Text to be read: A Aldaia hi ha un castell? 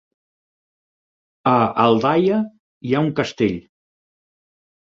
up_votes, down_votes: 2, 4